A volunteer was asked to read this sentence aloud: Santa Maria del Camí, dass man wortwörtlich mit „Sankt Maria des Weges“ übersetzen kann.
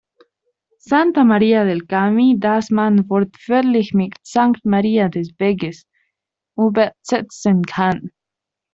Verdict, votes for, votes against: rejected, 0, 2